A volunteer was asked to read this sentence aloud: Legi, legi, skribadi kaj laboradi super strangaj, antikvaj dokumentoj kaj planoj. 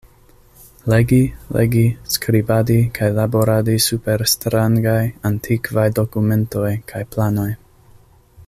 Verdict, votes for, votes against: accepted, 2, 0